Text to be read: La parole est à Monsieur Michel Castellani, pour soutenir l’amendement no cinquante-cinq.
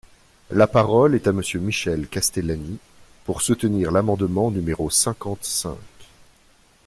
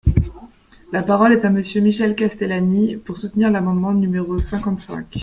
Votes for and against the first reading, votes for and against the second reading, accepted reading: 1, 2, 2, 0, second